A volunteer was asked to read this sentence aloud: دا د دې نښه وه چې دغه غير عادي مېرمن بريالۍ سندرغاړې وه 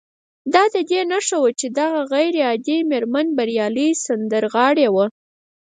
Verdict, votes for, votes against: accepted, 4, 0